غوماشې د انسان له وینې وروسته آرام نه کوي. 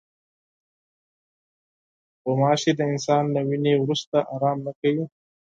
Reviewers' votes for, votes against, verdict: 4, 0, accepted